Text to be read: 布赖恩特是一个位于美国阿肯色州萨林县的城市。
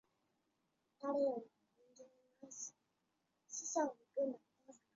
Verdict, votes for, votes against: rejected, 0, 2